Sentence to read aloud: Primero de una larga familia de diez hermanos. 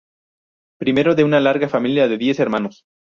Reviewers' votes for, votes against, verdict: 2, 0, accepted